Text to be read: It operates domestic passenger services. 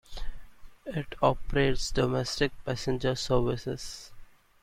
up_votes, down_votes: 2, 1